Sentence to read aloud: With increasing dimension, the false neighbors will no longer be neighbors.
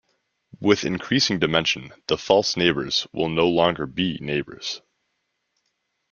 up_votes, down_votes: 2, 0